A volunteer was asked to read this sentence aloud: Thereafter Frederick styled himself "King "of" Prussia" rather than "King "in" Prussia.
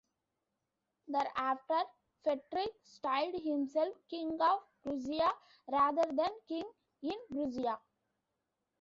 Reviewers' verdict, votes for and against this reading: accepted, 2, 1